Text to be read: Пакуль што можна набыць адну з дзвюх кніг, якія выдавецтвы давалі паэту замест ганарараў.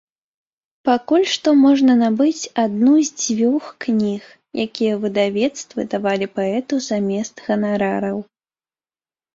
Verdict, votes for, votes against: accepted, 2, 1